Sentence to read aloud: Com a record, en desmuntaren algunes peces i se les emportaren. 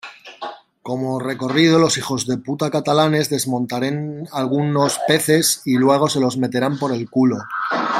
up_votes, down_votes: 0, 3